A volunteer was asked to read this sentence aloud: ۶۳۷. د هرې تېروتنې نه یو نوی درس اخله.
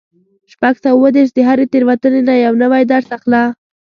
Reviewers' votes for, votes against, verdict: 0, 2, rejected